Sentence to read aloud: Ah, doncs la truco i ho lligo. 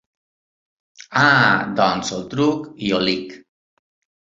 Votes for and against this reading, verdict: 0, 2, rejected